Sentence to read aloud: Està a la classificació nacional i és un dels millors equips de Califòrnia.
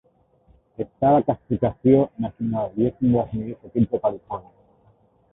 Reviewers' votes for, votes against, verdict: 1, 2, rejected